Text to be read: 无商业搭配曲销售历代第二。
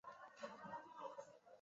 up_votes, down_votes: 0, 2